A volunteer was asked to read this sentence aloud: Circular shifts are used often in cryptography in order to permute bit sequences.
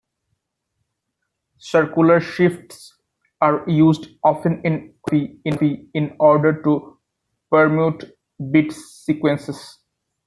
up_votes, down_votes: 0, 2